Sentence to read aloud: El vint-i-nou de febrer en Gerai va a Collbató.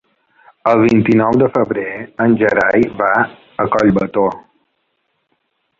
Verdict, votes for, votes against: accepted, 2, 0